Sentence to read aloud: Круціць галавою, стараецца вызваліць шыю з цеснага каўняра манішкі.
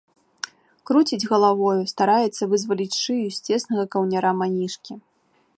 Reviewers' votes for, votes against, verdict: 2, 0, accepted